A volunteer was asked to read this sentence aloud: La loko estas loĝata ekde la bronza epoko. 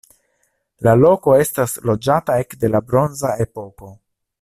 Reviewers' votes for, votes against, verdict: 2, 0, accepted